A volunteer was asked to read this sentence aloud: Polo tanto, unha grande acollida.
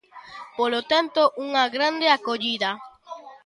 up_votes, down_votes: 2, 0